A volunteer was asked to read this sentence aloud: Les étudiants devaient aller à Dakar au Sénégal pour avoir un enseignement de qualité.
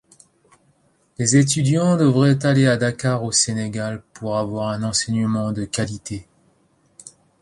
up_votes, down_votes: 0, 2